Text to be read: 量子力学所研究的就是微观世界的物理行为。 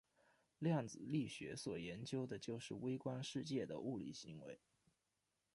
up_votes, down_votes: 2, 0